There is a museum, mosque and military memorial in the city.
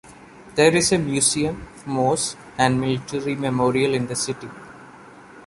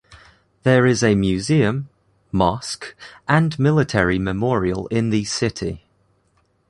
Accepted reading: second